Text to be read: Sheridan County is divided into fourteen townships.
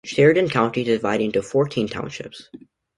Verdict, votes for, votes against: rejected, 0, 2